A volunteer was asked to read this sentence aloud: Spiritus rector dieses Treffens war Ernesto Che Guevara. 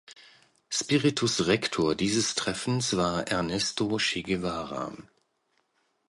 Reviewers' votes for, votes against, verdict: 2, 0, accepted